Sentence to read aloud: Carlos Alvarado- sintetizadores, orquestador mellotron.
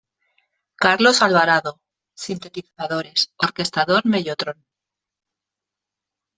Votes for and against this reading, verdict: 2, 1, accepted